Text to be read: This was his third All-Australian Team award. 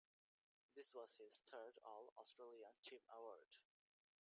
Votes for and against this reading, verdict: 0, 2, rejected